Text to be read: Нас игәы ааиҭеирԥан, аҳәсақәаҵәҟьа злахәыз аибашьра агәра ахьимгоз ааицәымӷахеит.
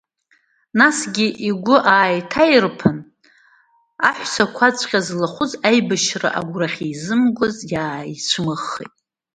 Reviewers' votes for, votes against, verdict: 1, 2, rejected